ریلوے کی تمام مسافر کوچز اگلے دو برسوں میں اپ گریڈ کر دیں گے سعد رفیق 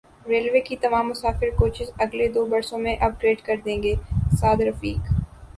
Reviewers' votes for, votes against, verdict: 2, 0, accepted